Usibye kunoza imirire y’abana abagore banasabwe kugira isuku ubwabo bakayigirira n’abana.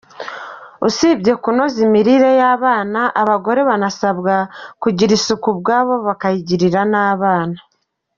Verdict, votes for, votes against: accepted, 2, 0